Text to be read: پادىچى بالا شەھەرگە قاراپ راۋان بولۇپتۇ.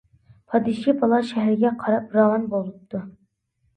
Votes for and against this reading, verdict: 0, 2, rejected